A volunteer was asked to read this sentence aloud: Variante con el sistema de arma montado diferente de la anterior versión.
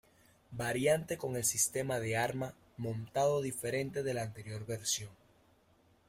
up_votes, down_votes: 2, 1